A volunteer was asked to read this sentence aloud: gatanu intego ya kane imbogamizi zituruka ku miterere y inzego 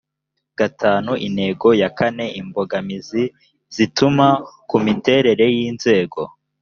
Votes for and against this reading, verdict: 0, 2, rejected